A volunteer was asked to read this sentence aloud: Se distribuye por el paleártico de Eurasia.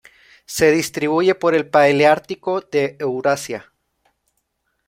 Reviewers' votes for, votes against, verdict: 0, 2, rejected